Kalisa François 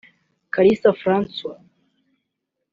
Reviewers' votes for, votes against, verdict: 4, 0, accepted